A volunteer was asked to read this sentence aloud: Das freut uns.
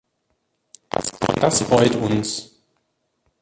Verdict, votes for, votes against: rejected, 0, 2